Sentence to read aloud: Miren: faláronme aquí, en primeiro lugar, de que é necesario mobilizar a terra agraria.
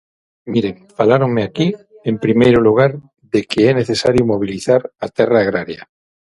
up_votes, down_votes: 3, 6